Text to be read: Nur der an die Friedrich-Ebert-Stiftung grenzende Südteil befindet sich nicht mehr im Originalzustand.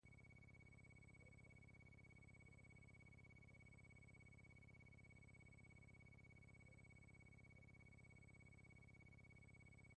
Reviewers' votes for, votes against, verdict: 0, 2, rejected